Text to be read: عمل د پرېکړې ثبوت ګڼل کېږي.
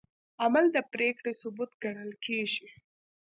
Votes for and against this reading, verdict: 2, 0, accepted